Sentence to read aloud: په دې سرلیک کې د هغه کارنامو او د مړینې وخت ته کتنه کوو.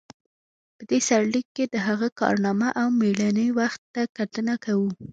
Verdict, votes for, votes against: accepted, 2, 0